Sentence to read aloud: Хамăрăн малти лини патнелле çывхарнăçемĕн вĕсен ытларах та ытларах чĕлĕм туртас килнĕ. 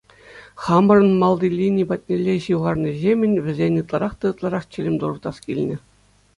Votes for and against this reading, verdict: 2, 0, accepted